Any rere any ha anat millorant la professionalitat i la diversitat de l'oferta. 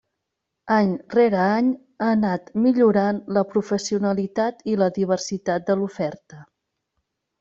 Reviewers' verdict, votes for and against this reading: accepted, 3, 0